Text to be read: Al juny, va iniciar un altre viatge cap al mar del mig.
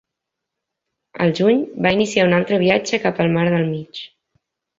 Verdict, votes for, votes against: accepted, 3, 0